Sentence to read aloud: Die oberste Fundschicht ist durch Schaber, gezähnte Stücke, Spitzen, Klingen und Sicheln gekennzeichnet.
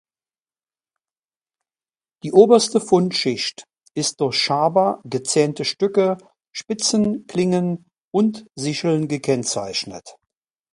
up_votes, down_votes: 2, 0